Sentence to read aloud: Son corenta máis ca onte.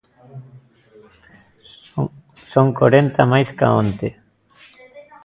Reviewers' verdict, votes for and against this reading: accepted, 2, 0